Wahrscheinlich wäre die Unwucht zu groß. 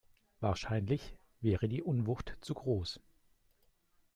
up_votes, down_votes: 2, 0